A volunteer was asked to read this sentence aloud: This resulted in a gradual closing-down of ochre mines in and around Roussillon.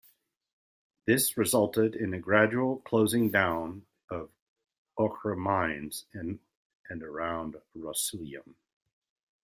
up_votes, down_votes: 0, 2